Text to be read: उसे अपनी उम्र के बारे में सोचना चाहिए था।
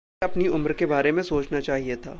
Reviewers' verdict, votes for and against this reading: rejected, 0, 2